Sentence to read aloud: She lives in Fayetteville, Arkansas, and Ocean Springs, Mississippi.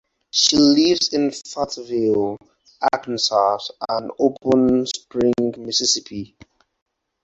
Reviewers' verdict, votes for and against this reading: rejected, 0, 4